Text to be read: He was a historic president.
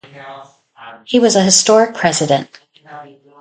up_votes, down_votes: 2, 2